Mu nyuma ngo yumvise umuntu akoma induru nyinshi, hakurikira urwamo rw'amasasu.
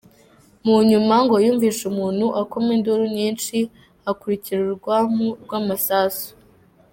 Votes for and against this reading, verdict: 3, 2, accepted